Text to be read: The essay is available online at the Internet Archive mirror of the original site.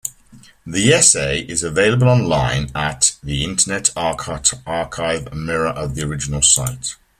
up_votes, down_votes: 1, 2